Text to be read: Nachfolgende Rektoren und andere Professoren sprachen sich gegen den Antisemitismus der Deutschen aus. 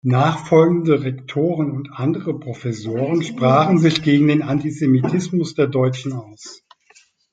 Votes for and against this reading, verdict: 2, 0, accepted